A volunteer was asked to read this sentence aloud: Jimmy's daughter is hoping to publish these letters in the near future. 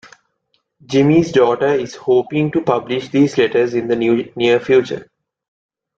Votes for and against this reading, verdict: 1, 2, rejected